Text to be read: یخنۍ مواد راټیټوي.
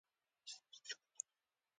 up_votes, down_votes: 0, 2